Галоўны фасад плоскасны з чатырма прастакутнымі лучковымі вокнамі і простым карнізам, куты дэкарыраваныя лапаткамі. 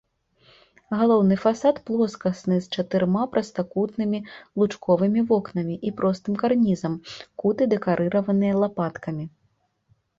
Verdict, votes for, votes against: rejected, 0, 2